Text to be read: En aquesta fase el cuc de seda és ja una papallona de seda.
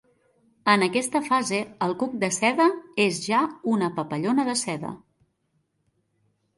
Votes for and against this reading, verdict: 2, 0, accepted